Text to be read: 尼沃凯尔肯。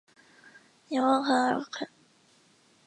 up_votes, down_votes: 0, 4